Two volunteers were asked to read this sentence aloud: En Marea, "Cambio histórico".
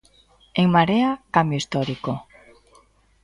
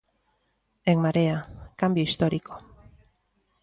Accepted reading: second